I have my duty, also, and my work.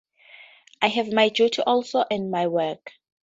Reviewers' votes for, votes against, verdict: 0, 2, rejected